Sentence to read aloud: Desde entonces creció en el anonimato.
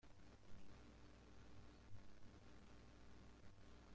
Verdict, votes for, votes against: rejected, 0, 2